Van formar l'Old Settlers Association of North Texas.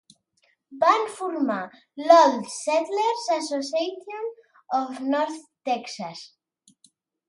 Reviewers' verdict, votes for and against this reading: accepted, 2, 0